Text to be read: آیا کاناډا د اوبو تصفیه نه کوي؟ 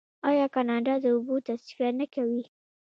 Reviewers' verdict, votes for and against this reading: accepted, 2, 1